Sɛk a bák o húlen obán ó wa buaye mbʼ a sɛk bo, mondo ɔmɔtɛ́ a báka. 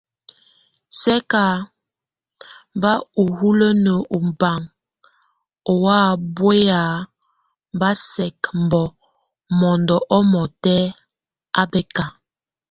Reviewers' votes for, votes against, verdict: 0, 2, rejected